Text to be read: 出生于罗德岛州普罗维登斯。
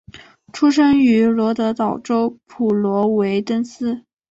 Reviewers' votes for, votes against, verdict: 2, 0, accepted